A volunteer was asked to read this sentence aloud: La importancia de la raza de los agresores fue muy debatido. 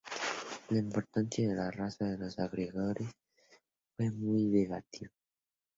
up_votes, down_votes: 0, 2